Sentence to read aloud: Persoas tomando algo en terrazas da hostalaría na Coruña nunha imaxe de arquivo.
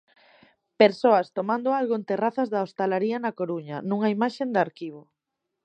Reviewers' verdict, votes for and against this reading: rejected, 0, 2